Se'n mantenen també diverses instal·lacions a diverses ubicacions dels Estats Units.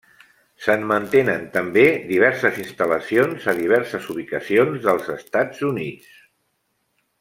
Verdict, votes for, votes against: accepted, 3, 0